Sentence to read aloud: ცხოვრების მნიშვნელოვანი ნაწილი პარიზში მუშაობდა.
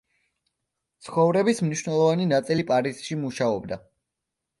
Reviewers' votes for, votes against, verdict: 2, 0, accepted